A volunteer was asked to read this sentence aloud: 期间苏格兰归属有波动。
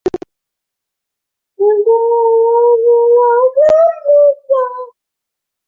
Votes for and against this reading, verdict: 2, 1, accepted